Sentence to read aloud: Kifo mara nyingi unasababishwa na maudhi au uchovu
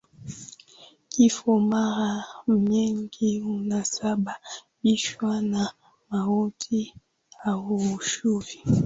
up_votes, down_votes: 2, 0